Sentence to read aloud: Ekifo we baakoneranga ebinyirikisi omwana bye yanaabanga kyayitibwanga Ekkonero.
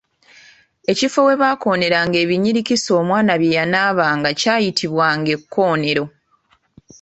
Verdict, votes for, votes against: accepted, 2, 0